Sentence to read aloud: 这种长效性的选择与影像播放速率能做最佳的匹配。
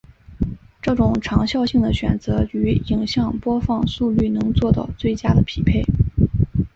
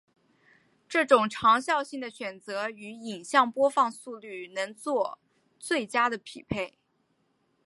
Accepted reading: first